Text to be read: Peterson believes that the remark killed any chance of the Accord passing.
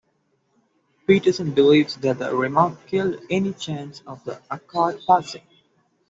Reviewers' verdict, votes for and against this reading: rejected, 1, 2